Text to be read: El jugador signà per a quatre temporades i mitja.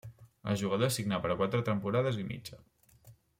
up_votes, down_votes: 2, 0